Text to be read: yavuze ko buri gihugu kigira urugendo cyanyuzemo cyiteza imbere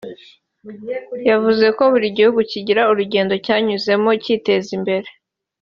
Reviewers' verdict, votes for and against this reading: accepted, 2, 0